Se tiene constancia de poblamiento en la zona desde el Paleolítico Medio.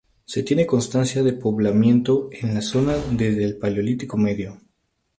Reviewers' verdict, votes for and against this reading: rejected, 0, 2